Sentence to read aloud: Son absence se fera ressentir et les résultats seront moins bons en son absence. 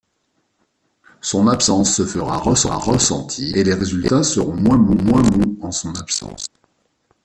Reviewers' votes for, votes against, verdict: 0, 2, rejected